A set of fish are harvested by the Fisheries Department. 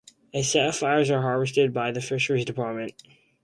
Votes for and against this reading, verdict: 0, 4, rejected